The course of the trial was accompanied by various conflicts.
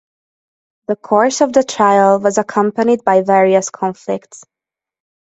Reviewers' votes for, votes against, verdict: 2, 0, accepted